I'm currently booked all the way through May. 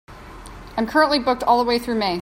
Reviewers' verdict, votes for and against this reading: accepted, 2, 0